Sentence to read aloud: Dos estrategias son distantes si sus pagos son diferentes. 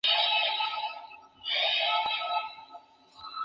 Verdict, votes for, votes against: accepted, 2, 0